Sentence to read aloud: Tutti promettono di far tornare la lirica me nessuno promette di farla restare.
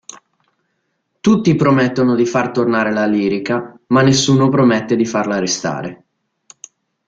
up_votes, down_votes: 2, 0